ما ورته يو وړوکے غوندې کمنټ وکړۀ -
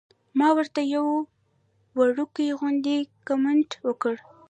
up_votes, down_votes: 1, 2